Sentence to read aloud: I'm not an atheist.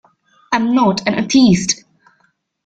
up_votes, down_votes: 0, 2